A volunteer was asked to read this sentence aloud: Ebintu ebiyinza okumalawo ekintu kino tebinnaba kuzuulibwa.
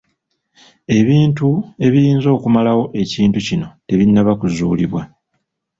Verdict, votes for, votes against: accepted, 2, 0